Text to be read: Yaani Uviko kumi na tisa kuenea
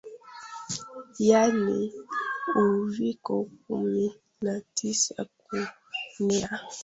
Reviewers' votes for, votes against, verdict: 1, 2, rejected